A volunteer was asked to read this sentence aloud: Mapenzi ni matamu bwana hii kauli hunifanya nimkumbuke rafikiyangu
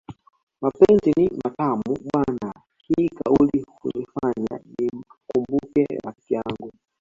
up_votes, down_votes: 0, 2